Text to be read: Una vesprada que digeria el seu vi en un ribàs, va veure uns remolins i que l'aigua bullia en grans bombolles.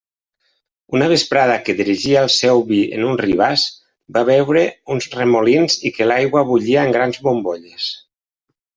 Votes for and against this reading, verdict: 0, 2, rejected